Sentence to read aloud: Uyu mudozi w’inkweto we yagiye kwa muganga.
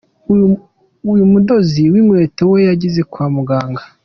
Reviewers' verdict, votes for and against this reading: rejected, 0, 2